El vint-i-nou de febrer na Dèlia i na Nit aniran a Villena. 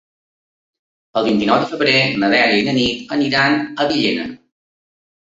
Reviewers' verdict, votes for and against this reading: accepted, 4, 0